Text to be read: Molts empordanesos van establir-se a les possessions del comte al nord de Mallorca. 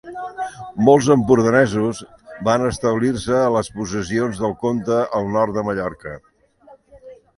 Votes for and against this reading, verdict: 2, 0, accepted